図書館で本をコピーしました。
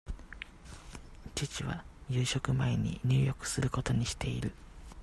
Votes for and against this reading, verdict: 0, 2, rejected